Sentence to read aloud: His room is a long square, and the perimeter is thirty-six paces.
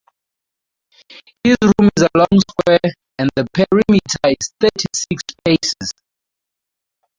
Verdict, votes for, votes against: rejected, 0, 4